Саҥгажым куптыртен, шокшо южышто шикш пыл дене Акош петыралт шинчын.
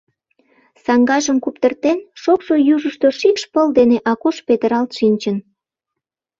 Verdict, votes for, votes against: accepted, 2, 0